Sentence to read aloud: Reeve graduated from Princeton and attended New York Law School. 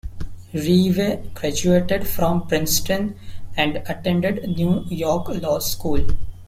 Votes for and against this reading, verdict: 0, 2, rejected